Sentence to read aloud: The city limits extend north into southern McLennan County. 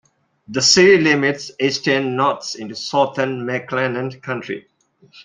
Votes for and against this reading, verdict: 0, 2, rejected